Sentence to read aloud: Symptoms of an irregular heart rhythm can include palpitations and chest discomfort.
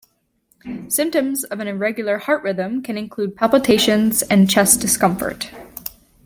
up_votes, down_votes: 2, 0